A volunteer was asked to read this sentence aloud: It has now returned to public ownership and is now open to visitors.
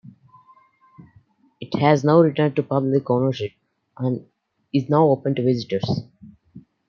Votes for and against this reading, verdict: 2, 0, accepted